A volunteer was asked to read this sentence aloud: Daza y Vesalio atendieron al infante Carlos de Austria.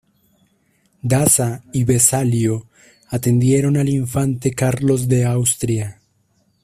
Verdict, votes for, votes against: accepted, 2, 0